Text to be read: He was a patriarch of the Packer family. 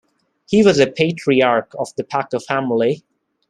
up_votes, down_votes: 2, 0